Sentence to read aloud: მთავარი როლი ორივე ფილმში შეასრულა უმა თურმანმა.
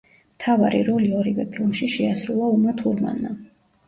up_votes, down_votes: 1, 2